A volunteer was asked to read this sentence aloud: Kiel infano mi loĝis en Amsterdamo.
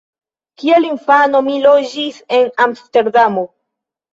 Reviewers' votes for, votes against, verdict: 2, 1, accepted